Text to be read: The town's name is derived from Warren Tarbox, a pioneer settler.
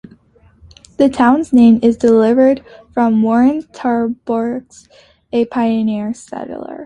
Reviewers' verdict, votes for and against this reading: rejected, 0, 2